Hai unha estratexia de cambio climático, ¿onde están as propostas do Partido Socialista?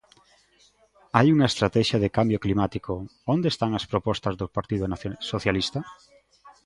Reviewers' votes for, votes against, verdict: 0, 2, rejected